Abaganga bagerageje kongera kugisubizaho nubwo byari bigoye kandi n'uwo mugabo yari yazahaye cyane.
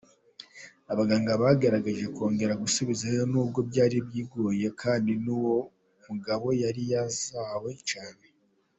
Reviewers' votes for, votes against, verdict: 2, 1, accepted